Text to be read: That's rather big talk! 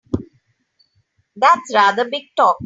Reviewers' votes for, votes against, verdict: 3, 1, accepted